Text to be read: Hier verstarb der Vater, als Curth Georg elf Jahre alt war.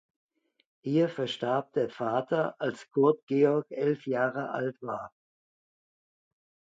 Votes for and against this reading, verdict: 2, 0, accepted